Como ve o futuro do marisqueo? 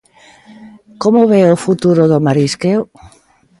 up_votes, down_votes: 2, 0